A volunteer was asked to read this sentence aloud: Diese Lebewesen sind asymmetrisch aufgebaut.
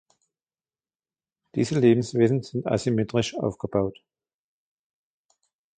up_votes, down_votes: 2, 0